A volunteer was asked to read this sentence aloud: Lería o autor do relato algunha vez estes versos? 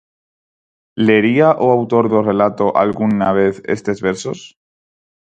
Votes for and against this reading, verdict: 0, 4, rejected